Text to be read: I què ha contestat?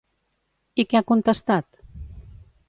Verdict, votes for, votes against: accepted, 2, 0